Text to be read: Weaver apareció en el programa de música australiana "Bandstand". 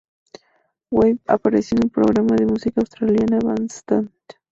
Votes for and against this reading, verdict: 2, 0, accepted